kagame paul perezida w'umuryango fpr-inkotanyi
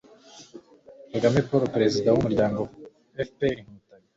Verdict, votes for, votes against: rejected, 1, 2